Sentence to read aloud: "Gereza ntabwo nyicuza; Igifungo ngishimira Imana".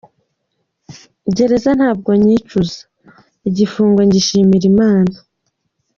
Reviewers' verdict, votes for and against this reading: accepted, 2, 1